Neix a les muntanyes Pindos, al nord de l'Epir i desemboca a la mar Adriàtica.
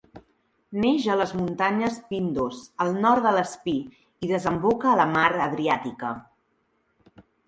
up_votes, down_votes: 1, 3